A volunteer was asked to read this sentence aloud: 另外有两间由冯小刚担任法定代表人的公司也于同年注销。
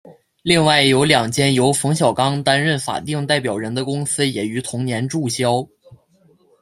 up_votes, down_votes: 2, 0